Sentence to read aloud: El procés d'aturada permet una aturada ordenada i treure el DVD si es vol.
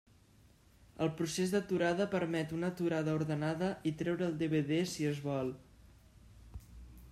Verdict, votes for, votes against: accepted, 3, 0